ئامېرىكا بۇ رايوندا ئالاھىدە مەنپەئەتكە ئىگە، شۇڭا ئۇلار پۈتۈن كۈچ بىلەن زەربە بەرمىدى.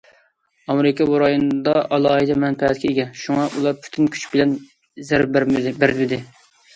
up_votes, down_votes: 0, 2